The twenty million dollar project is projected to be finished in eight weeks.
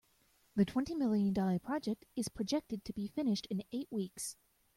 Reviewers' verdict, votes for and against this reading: accepted, 2, 0